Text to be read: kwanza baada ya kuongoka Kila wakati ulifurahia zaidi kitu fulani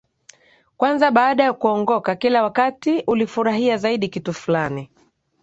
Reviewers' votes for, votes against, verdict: 2, 0, accepted